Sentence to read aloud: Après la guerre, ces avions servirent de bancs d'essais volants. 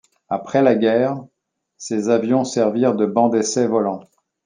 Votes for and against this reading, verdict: 2, 0, accepted